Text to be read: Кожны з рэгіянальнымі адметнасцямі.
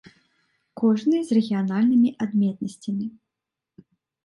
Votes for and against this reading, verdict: 2, 0, accepted